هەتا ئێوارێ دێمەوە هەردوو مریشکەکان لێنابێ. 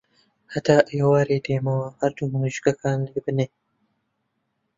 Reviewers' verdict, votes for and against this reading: rejected, 1, 2